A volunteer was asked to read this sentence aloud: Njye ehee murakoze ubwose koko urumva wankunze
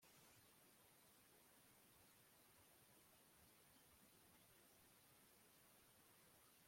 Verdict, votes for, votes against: rejected, 1, 2